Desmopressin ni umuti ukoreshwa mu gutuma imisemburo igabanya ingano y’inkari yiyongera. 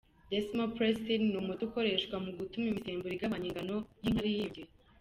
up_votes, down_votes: 1, 2